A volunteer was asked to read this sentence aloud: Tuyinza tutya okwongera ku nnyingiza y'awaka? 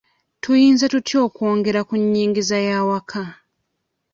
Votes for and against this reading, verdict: 2, 0, accepted